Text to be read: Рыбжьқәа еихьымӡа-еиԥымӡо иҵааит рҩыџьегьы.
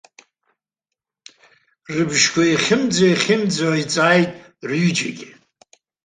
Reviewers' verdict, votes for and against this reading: rejected, 0, 2